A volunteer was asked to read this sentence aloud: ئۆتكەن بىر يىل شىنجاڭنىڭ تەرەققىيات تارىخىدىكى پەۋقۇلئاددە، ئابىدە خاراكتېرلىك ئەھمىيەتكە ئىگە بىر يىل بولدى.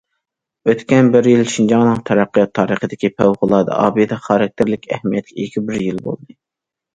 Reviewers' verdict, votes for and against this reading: accepted, 2, 0